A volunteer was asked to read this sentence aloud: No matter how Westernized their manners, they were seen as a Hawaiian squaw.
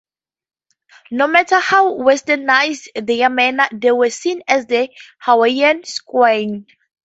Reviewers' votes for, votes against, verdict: 2, 0, accepted